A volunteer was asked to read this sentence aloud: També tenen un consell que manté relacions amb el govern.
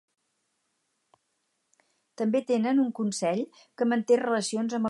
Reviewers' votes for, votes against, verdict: 2, 4, rejected